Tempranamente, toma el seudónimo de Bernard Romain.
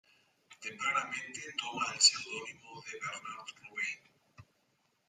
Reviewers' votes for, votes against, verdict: 2, 1, accepted